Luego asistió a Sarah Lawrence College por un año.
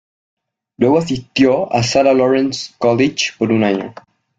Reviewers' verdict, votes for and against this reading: rejected, 1, 2